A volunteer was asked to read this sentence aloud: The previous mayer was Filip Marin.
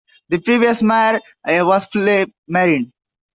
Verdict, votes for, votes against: rejected, 0, 2